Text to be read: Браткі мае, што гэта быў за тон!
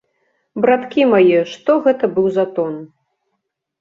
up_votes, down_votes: 2, 0